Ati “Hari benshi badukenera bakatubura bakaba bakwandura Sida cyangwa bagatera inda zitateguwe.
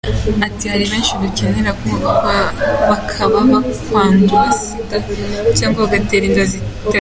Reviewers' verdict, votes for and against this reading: rejected, 0, 2